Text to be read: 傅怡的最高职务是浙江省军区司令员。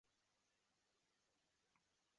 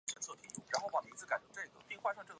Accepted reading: second